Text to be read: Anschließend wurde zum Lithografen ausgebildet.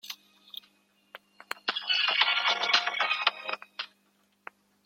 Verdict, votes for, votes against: rejected, 1, 2